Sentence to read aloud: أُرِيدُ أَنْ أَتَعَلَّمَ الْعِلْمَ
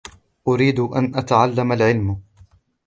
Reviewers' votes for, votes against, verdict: 2, 0, accepted